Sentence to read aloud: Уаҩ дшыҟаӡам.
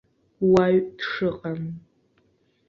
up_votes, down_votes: 0, 2